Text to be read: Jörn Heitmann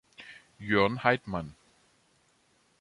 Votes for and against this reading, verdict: 2, 0, accepted